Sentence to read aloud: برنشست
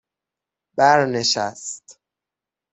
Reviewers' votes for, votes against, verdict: 6, 0, accepted